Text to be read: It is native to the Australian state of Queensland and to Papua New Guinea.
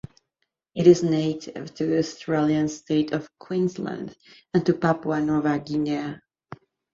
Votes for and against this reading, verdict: 1, 2, rejected